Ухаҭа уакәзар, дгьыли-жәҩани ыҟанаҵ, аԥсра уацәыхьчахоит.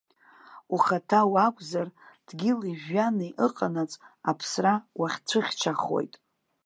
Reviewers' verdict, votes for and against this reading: rejected, 1, 2